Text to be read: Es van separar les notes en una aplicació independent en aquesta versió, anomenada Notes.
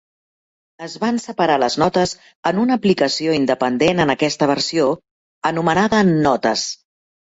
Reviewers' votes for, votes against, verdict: 3, 0, accepted